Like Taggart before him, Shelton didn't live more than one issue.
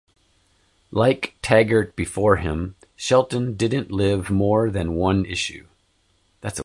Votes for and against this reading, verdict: 0, 2, rejected